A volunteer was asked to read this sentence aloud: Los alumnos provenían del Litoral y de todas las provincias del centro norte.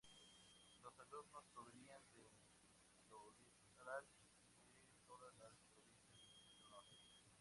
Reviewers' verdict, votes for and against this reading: rejected, 0, 2